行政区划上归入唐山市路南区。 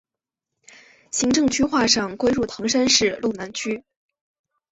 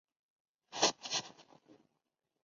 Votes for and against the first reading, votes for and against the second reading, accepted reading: 2, 0, 0, 2, first